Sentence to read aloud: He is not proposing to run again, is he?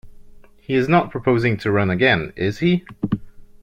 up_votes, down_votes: 2, 0